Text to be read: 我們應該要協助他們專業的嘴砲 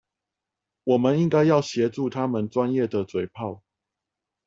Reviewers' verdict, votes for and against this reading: accepted, 4, 0